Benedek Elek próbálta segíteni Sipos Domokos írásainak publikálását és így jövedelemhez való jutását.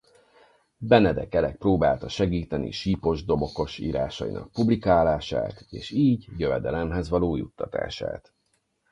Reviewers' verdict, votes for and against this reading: rejected, 0, 4